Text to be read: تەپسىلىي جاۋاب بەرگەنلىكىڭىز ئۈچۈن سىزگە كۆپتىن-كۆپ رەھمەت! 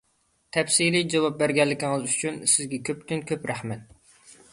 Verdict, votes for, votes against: accepted, 2, 0